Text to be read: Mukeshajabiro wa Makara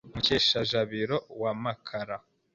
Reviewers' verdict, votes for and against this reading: accepted, 2, 1